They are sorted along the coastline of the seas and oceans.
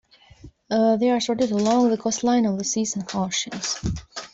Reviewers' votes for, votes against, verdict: 2, 0, accepted